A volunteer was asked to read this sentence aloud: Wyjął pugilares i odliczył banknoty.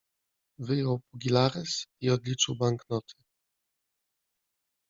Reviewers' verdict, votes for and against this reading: rejected, 0, 2